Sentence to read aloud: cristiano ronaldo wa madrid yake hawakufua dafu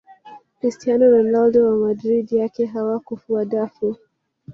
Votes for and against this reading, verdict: 2, 0, accepted